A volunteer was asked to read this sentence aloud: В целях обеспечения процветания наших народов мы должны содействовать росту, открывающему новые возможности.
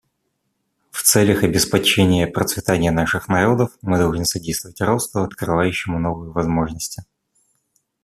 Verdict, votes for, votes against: rejected, 0, 2